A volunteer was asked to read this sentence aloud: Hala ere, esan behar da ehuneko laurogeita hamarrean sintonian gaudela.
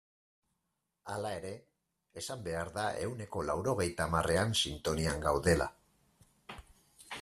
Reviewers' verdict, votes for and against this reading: accepted, 4, 2